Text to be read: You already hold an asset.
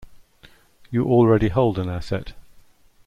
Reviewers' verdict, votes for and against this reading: accepted, 2, 0